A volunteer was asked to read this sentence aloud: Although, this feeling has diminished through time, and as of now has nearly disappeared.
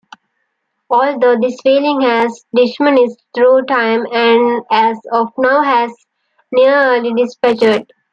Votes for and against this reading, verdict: 0, 2, rejected